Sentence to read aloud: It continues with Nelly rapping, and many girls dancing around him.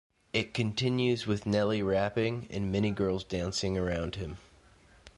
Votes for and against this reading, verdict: 2, 0, accepted